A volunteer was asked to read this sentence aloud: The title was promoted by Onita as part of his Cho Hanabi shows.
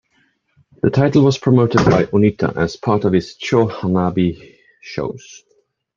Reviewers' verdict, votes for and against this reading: accepted, 2, 0